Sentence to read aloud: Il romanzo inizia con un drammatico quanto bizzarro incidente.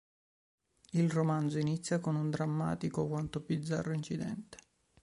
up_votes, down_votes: 3, 0